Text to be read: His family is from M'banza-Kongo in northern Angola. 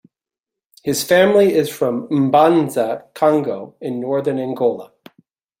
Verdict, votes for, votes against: accepted, 2, 0